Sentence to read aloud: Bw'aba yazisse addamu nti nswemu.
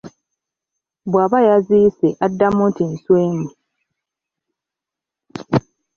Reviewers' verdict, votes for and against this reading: accepted, 3, 0